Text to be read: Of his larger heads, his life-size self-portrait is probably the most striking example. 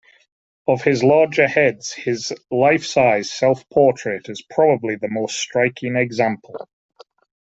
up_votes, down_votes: 2, 0